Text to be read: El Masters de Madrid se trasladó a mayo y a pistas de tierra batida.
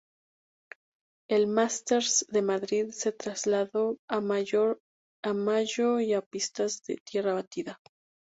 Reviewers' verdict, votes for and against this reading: rejected, 0, 2